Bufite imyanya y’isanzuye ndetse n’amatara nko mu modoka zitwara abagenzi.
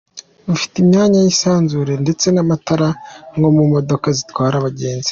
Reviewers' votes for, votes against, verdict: 2, 1, accepted